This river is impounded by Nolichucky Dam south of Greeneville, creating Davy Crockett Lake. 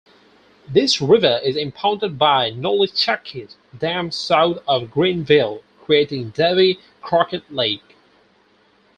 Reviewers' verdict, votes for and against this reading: accepted, 4, 2